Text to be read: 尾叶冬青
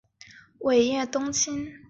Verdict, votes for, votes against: accepted, 2, 0